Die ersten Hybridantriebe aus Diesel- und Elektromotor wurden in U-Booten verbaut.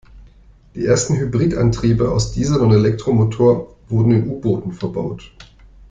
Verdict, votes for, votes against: rejected, 1, 2